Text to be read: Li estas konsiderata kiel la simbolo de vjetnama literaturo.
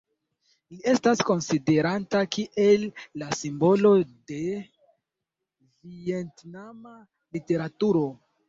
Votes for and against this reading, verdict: 1, 2, rejected